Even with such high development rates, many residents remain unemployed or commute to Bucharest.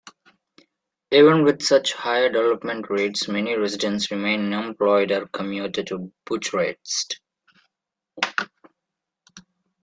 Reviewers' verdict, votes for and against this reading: rejected, 0, 2